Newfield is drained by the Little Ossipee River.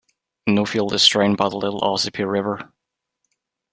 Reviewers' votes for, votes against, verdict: 1, 2, rejected